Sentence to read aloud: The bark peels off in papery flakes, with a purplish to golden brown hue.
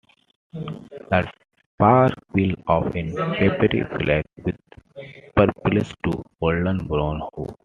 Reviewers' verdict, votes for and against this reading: accepted, 2, 1